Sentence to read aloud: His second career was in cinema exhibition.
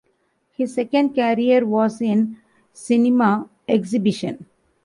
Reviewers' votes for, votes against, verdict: 2, 1, accepted